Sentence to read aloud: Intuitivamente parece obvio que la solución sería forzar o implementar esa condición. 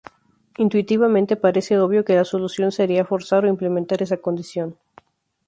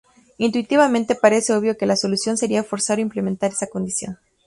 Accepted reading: first